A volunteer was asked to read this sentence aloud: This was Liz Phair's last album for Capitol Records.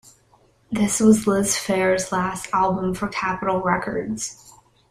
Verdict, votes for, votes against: rejected, 1, 2